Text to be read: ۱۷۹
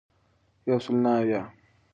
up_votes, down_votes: 0, 2